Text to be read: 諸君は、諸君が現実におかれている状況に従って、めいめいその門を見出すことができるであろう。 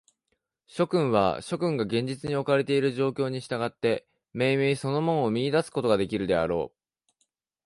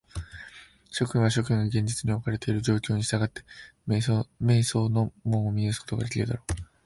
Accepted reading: first